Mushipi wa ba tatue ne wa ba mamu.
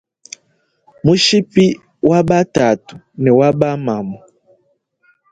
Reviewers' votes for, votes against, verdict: 2, 0, accepted